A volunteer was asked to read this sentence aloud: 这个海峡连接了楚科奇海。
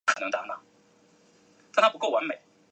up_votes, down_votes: 0, 4